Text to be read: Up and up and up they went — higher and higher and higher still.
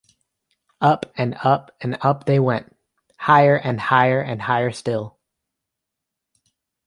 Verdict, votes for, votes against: accepted, 2, 0